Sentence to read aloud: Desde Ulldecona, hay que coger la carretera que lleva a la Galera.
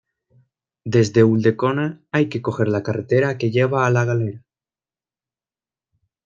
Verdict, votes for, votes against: accepted, 2, 1